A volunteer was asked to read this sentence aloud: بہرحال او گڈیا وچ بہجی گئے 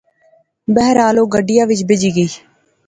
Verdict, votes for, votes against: accepted, 2, 0